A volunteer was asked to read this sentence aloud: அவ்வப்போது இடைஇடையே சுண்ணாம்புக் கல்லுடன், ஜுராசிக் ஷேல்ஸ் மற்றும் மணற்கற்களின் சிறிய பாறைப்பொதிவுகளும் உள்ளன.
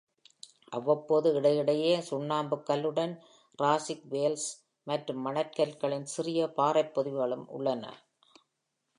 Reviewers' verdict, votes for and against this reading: rejected, 0, 2